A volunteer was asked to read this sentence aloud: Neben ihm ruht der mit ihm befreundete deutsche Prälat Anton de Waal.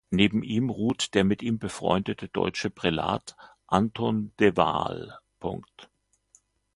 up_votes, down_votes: 1, 2